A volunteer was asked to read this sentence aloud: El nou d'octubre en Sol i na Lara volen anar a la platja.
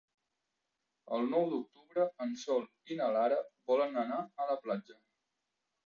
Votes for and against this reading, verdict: 1, 2, rejected